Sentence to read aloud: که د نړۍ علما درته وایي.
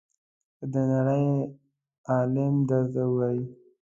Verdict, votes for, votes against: rejected, 0, 2